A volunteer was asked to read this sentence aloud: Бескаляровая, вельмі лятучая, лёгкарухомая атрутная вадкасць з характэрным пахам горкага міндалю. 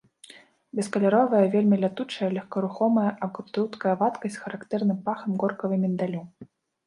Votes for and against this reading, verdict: 1, 2, rejected